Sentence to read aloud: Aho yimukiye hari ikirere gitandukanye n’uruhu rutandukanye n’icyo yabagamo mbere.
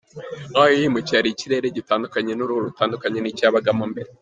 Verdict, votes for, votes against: rejected, 0, 2